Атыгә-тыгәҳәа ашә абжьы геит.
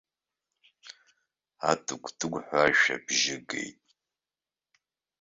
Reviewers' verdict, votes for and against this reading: accepted, 2, 0